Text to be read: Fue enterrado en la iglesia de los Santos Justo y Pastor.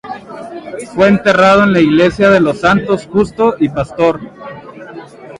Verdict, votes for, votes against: rejected, 0, 2